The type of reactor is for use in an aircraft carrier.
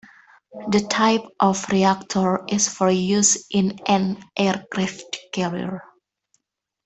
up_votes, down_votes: 2, 0